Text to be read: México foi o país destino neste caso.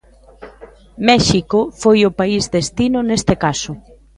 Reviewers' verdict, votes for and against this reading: rejected, 0, 2